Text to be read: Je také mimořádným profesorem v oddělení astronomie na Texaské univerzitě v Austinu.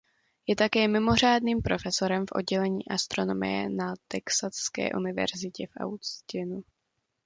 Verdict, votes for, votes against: accepted, 2, 0